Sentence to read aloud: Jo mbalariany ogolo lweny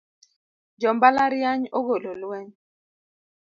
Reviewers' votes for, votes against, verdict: 2, 0, accepted